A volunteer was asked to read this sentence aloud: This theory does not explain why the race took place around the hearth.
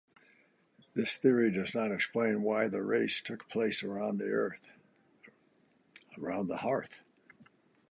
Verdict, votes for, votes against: rejected, 0, 2